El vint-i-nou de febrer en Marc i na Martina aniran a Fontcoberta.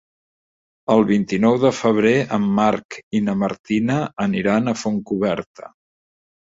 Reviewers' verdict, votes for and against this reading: rejected, 1, 2